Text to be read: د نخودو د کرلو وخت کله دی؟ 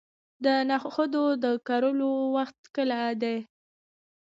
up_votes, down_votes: 1, 2